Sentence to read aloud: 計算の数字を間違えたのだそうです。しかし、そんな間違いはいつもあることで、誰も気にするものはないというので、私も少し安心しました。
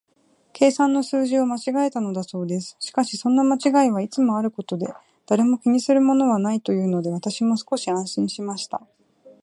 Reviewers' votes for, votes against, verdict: 2, 0, accepted